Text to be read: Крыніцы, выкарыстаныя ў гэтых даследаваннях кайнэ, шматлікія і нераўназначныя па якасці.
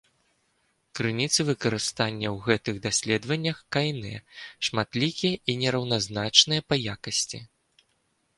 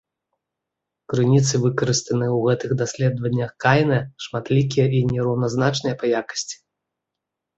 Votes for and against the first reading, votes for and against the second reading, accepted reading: 0, 3, 2, 0, second